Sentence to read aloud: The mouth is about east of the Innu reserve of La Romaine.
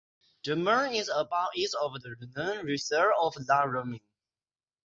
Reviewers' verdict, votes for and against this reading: rejected, 0, 6